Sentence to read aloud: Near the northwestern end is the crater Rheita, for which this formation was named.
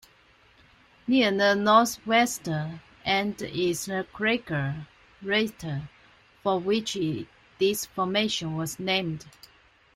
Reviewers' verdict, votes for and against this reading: accepted, 2, 0